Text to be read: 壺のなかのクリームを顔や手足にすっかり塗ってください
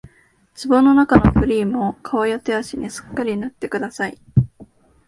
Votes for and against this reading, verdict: 4, 0, accepted